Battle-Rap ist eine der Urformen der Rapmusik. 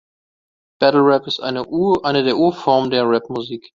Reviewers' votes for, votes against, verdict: 1, 2, rejected